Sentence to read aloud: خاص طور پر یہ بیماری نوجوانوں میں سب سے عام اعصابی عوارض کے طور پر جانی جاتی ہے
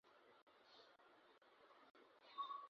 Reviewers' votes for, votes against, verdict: 0, 2, rejected